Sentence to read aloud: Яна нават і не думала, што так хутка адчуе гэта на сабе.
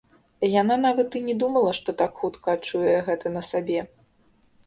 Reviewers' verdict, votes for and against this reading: rejected, 1, 2